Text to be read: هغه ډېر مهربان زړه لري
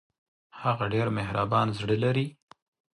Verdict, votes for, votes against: accepted, 2, 0